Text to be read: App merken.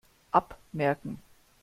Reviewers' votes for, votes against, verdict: 0, 2, rejected